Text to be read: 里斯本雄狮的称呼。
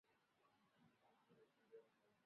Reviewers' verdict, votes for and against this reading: rejected, 1, 2